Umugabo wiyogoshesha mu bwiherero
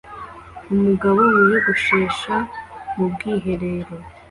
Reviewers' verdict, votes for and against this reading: accepted, 2, 0